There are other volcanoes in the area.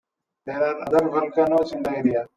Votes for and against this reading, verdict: 1, 2, rejected